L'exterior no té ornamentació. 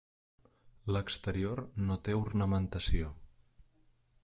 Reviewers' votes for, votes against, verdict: 1, 2, rejected